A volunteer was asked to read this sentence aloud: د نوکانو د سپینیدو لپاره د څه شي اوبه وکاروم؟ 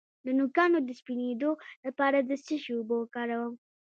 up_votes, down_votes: 2, 0